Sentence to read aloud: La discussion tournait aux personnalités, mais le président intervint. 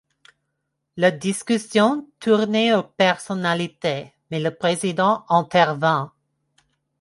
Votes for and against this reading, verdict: 2, 0, accepted